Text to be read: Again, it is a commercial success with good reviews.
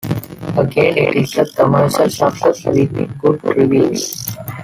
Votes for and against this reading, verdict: 0, 2, rejected